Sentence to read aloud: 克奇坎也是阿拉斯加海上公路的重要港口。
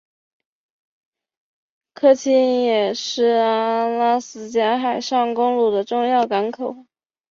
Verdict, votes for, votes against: rejected, 1, 2